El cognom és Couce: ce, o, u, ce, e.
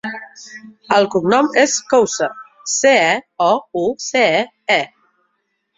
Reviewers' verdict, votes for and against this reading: rejected, 1, 2